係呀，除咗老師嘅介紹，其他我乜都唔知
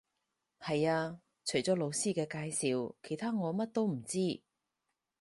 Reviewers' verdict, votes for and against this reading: rejected, 0, 4